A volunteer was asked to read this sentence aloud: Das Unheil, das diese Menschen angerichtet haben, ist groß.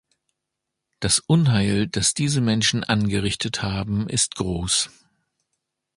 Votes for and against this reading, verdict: 2, 0, accepted